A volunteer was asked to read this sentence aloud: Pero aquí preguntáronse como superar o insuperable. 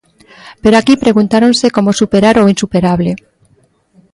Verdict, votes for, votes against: accepted, 2, 0